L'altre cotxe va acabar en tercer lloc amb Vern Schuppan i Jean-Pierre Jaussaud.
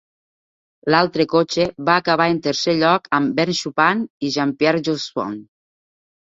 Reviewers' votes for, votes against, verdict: 2, 1, accepted